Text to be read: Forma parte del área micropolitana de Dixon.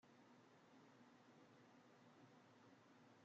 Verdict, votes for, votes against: rejected, 0, 2